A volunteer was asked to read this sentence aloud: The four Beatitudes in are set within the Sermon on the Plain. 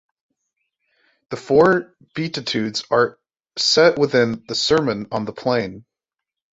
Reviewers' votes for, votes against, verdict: 1, 2, rejected